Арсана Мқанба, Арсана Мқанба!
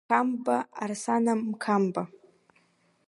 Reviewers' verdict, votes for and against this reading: rejected, 0, 2